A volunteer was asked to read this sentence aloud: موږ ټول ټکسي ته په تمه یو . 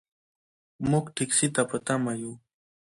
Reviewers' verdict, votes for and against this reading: rejected, 0, 2